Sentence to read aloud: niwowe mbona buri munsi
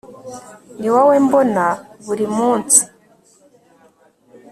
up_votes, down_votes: 2, 0